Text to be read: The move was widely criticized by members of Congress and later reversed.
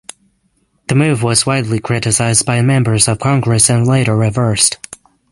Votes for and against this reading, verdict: 6, 0, accepted